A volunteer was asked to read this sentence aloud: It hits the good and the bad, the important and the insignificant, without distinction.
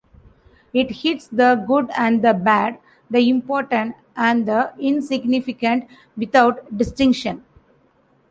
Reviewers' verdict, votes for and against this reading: accepted, 2, 0